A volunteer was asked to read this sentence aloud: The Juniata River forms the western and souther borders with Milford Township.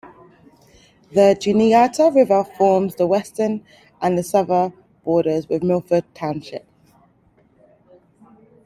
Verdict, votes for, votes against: rejected, 0, 2